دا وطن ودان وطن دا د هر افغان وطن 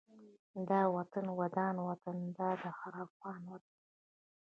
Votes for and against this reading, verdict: 2, 1, accepted